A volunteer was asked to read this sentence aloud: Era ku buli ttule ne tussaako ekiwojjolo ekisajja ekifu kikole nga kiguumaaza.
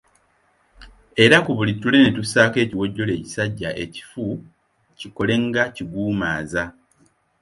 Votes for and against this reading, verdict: 2, 0, accepted